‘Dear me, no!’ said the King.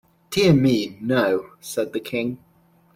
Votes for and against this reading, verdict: 2, 0, accepted